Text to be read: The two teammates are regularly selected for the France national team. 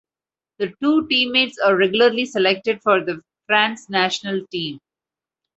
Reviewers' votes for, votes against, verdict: 2, 0, accepted